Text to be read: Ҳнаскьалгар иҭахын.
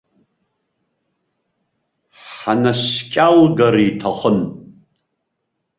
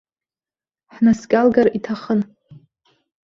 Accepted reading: second